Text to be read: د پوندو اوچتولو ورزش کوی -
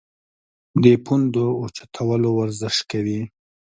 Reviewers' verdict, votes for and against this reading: accepted, 2, 0